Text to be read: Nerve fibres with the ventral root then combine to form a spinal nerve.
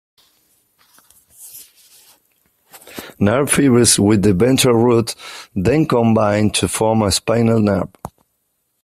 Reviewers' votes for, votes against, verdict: 1, 2, rejected